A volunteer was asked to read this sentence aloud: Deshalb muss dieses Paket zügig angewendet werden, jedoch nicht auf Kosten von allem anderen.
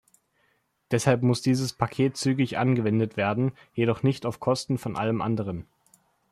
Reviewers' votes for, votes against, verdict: 2, 0, accepted